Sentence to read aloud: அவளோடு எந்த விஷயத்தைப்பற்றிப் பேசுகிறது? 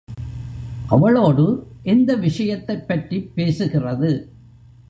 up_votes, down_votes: 1, 2